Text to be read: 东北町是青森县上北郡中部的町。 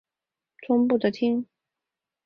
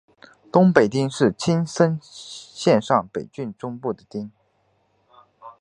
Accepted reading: second